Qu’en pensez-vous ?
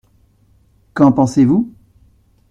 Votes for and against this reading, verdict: 2, 0, accepted